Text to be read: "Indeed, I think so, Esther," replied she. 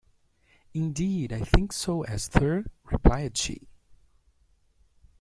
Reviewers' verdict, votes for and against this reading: accepted, 2, 1